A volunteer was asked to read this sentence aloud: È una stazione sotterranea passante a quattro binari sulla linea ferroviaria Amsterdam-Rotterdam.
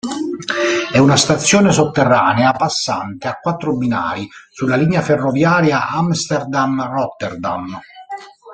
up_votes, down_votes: 0, 2